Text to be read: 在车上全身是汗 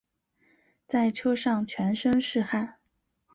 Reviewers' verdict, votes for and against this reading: accepted, 2, 0